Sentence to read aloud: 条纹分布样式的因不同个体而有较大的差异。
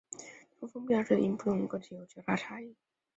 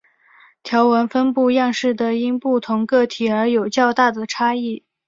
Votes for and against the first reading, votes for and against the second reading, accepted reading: 0, 2, 3, 0, second